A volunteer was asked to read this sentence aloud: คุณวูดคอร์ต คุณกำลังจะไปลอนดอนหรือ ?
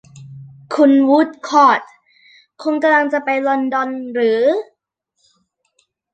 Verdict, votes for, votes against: rejected, 1, 2